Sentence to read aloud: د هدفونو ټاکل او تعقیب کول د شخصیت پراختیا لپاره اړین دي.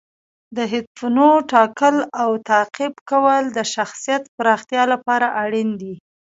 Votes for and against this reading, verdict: 0, 2, rejected